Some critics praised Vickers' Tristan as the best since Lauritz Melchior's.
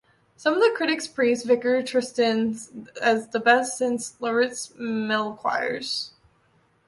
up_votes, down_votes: 2, 1